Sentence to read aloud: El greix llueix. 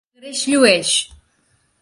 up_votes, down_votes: 1, 2